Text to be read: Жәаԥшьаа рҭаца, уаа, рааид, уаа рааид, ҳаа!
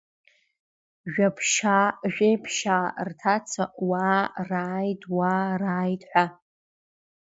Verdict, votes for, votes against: rejected, 1, 2